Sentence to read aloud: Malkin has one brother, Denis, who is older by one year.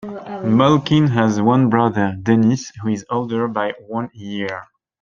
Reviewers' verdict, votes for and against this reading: accepted, 2, 0